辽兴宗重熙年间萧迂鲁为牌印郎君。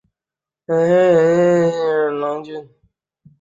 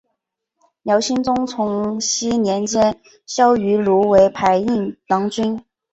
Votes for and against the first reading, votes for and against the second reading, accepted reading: 1, 2, 2, 0, second